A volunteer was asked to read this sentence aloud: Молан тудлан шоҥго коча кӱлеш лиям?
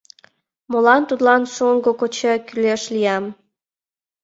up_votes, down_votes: 2, 0